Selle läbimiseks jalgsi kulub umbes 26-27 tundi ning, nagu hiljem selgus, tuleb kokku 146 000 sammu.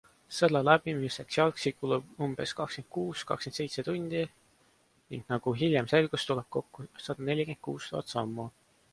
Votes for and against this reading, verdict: 0, 2, rejected